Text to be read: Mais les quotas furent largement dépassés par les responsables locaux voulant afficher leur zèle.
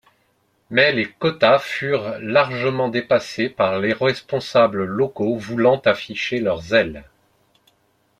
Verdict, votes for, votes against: accepted, 2, 1